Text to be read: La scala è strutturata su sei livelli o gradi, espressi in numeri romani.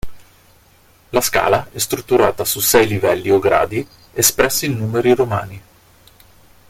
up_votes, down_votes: 2, 0